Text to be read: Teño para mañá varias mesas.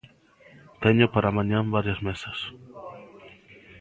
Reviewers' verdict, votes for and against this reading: accepted, 2, 0